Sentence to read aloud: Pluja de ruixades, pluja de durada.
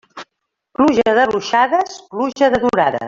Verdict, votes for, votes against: rejected, 1, 2